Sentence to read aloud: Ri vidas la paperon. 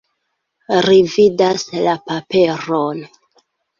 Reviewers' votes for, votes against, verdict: 2, 0, accepted